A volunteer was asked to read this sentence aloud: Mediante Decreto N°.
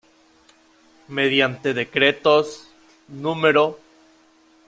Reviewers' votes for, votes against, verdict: 0, 2, rejected